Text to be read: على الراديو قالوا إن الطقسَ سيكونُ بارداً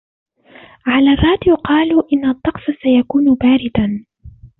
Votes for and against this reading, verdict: 2, 0, accepted